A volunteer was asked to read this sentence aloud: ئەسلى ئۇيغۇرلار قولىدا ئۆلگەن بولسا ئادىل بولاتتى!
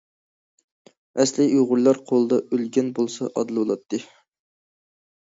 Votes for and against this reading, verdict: 2, 0, accepted